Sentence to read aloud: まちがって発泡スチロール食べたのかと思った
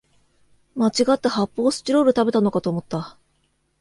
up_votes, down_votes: 2, 0